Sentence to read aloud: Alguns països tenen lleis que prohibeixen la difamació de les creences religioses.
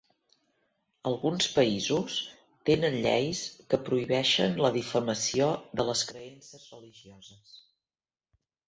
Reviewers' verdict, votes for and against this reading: rejected, 1, 2